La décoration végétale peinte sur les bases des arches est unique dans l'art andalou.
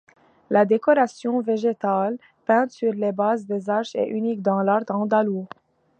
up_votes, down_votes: 2, 0